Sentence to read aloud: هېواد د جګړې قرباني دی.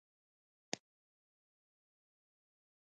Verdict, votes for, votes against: rejected, 1, 2